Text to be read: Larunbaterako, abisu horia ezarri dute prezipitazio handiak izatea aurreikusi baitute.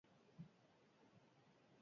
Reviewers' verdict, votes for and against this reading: rejected, 0, 6